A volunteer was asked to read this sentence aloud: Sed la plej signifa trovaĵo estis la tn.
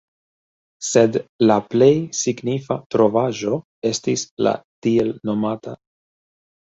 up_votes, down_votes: 2, 1